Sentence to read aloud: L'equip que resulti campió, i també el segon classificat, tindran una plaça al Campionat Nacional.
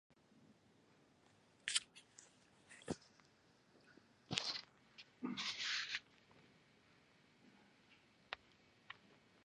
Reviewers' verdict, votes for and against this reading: rejected, 1, 2